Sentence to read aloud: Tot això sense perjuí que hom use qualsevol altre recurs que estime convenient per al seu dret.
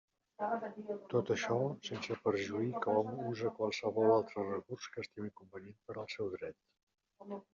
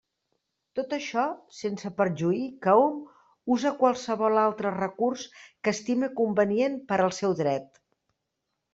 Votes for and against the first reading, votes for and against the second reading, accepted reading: 0, 2, 2, 0, second